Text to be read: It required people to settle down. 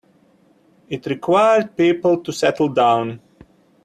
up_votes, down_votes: 2, 0